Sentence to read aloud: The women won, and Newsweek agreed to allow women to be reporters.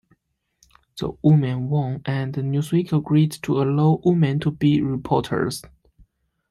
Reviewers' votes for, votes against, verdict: 0, 2, rejected